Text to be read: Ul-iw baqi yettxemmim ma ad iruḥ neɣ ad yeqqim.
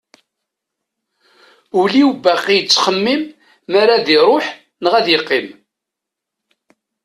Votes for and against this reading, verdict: 1, 2, rejected